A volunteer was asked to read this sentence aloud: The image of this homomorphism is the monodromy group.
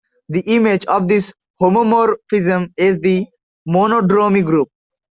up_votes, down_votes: 2, 0